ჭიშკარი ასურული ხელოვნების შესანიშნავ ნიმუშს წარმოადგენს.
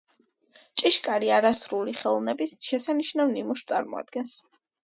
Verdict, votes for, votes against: accepted, 2, 1